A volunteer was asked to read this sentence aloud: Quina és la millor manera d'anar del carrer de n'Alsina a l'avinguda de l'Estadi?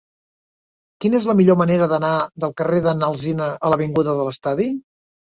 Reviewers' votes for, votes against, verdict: 3, 0, accepted